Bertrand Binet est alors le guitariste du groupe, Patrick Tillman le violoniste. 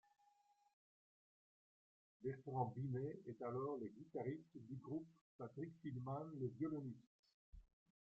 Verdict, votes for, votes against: accepted, 2, 1